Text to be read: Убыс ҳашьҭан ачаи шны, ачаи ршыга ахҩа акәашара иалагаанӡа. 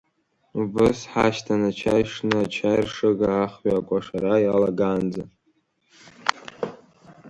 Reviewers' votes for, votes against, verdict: 2, 1, accepted